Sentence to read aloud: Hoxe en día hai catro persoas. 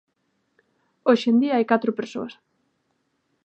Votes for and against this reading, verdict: 2, 0, accepted